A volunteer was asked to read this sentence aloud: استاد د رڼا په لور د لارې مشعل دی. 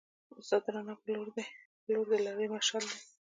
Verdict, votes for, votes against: rejected, 1, 2